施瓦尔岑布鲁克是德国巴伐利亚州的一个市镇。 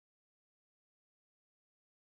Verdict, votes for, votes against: rejected, 0, 2